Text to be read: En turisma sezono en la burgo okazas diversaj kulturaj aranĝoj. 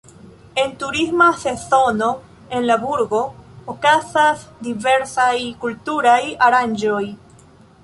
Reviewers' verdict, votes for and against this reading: rejected, 1, 2